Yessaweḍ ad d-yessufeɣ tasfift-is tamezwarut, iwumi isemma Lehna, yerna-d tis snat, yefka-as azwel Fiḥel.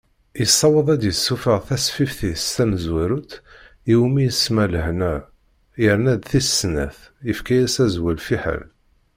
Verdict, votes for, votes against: accepted, 2, 0